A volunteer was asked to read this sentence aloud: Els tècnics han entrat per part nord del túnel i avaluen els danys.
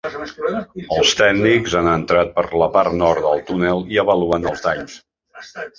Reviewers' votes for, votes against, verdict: 0, 2, rejected